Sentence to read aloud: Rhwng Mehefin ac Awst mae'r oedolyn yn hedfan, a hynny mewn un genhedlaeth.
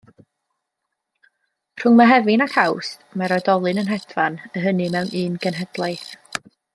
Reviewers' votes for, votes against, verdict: 0, 2, rejected